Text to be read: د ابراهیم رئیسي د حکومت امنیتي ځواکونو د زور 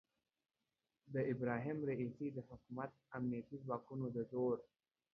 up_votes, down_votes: 2, 0